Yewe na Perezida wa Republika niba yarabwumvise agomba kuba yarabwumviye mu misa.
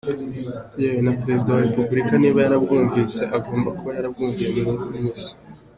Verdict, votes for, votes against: accepted, 2, 0